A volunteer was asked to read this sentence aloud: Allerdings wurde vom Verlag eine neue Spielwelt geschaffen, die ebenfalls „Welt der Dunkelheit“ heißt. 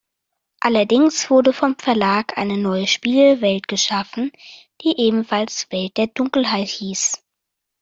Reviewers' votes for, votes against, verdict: 0, 2, rejected